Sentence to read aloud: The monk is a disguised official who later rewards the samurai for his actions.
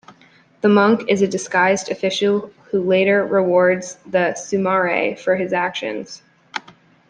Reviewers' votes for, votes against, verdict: 0, 2, rejected